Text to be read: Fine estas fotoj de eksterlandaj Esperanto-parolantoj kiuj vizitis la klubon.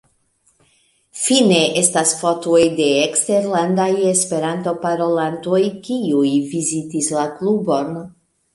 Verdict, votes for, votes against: rejected, 1, 2